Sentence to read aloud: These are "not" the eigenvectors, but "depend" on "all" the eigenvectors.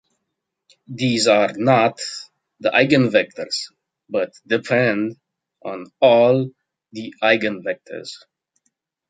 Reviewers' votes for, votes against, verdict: 2, 0, accepted